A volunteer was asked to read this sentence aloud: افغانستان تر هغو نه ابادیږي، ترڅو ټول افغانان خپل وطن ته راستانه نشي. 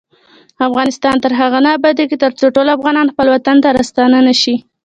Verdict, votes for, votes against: rejected, 1, 2